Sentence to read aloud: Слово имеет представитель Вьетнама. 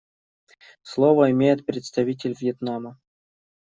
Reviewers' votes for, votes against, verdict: 2, 0, accepted